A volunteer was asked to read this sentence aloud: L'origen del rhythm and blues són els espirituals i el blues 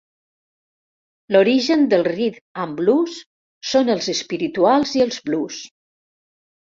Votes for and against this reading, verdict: 1, 2, rejected